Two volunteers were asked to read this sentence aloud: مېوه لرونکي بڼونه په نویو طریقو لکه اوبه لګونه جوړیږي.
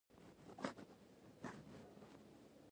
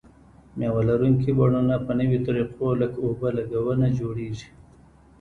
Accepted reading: second